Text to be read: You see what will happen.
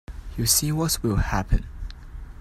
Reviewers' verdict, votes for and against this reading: rejected, 1, 2